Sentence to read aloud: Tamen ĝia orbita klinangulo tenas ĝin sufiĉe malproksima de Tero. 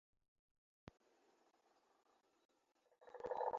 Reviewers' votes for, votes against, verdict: 1, 2, rejected